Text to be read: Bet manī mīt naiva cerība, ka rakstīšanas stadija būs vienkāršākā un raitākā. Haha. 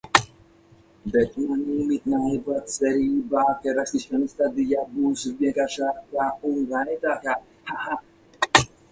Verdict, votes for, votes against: rejected, 0, 4